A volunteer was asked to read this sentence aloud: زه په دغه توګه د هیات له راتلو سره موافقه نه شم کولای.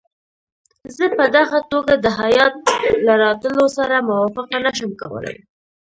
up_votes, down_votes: 1, 2